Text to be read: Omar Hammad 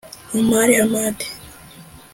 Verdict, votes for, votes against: rejected, 1, 2